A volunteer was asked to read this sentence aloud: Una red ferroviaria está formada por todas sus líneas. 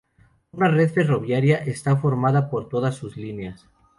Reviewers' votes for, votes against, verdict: 2, 2, rejected